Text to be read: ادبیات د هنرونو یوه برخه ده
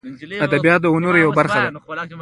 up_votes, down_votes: 0, 2